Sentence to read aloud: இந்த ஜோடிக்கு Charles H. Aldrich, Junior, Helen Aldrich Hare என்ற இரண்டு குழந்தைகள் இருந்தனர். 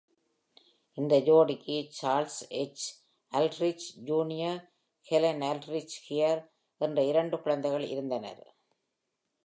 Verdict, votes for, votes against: accepted, 2, 0